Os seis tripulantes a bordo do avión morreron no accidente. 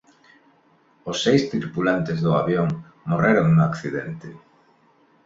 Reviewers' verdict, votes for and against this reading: rejected, 0, 2